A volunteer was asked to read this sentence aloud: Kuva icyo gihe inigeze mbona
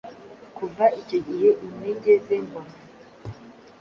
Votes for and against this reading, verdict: 1, 2, rejected